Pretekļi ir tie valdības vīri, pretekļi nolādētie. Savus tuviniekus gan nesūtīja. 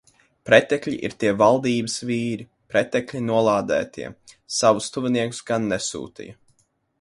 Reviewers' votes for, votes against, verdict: 2, 0, accepted